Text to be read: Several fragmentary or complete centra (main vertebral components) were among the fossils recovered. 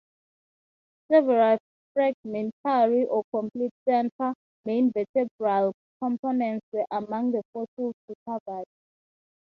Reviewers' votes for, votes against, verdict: 0, 3, rejected